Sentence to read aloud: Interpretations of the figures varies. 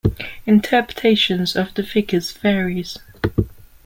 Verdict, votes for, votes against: accepted, 2, 0